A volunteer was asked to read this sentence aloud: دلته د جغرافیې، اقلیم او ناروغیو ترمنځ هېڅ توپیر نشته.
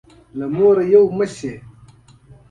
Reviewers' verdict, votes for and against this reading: rejected, 0, 2